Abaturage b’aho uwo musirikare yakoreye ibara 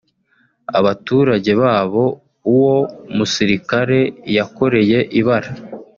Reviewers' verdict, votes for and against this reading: rejected, 1, 2